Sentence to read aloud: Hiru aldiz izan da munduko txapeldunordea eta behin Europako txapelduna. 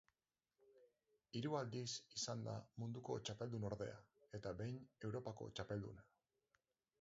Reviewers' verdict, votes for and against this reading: rejected, 0, 4